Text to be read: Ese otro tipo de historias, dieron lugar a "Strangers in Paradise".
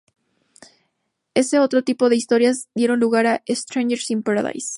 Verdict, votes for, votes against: accepted, 2, 0